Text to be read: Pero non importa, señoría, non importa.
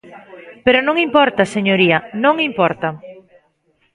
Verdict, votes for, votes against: rejected, 0, 2